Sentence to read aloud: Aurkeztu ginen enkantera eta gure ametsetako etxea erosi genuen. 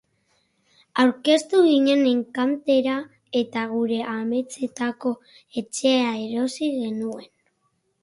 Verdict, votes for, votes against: accepted, 4, 0